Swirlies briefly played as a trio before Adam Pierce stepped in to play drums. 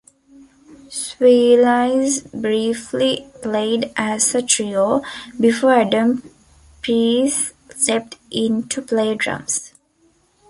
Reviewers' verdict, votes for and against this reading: rejected, 0, 2